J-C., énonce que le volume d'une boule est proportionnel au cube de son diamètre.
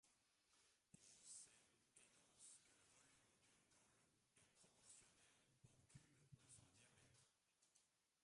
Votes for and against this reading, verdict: 0, 2, rejected